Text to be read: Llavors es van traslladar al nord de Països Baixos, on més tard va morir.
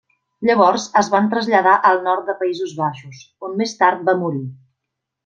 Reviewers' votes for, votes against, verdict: 3, 0, accepted